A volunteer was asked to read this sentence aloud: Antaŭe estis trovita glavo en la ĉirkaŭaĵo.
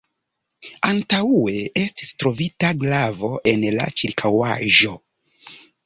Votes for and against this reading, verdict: 0, 2, rejected